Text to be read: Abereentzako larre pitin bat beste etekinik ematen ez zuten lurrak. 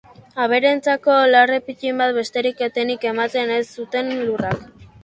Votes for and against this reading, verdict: 1, 2, rejected